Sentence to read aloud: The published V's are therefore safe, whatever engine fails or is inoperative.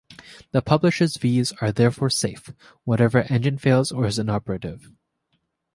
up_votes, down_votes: 2, 0